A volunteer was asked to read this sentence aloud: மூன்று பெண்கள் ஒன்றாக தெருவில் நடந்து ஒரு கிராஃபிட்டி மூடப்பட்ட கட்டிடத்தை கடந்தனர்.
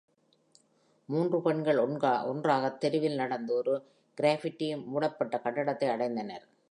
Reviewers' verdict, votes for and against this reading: rejected, 0, 2